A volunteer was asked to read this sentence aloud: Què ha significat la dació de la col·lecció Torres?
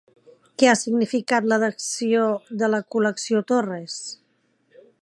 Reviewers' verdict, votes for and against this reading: rejected, 0, 2